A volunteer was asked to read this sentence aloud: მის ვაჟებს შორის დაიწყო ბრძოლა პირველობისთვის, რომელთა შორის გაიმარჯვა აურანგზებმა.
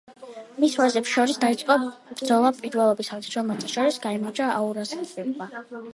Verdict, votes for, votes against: rejected, 1, 2